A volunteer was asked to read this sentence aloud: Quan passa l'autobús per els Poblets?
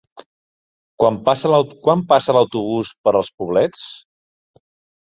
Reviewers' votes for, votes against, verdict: 0, 2, rejected